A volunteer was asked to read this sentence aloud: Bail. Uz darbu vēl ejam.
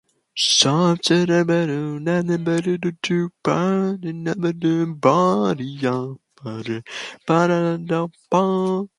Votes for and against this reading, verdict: 0, 2, rejected